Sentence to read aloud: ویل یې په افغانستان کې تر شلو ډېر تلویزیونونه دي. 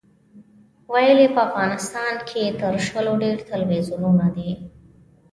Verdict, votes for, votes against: accepted, 2, 0